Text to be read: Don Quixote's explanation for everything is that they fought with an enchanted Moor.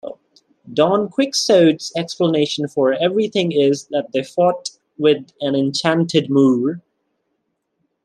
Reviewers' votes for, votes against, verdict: 1, 2, rejected